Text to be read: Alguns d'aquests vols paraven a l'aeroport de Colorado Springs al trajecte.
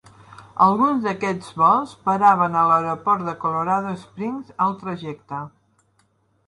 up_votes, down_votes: 2, 0